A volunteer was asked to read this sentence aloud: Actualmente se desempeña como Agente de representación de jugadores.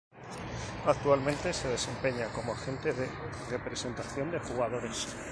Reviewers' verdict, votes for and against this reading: accepted, 4, 0